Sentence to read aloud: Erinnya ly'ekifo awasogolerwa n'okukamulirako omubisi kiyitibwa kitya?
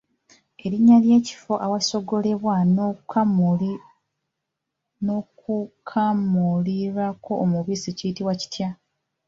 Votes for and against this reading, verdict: 1, 2, rejected